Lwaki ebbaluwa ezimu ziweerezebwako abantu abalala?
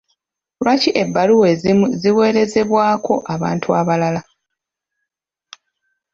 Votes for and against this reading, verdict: 1, 2, rejected